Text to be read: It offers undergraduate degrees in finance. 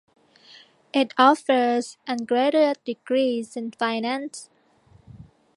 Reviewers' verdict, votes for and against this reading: rejected, 0, 2